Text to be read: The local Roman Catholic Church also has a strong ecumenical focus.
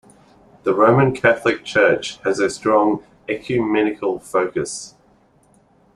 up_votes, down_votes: 1, 2